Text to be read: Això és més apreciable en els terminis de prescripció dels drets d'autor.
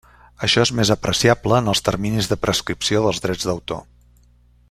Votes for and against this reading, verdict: 3, 0, accepted